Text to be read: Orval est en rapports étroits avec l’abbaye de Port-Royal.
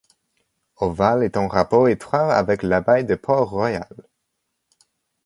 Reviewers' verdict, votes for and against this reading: rejected, 1, 2